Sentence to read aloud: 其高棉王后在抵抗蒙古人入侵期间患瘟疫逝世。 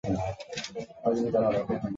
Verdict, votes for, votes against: rejected, 0, 4